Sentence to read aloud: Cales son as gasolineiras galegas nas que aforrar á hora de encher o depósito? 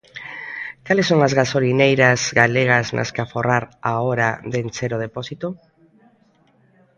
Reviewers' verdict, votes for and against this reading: accepted, 2, 1